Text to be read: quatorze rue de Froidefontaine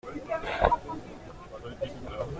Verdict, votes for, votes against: rejected, 0, 2